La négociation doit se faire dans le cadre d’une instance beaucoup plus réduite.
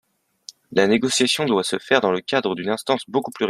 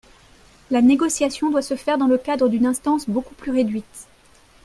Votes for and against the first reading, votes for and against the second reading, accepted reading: 0, 2, 2, 0, second